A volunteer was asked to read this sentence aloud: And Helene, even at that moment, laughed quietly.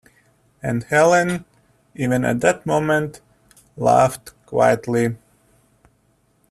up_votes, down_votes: 2, 0